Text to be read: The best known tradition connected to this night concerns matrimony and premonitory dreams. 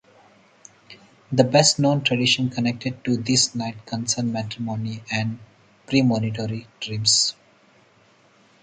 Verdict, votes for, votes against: rejected, 0, 4